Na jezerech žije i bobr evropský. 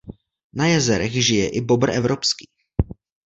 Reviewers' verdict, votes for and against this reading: accepted, 2, 0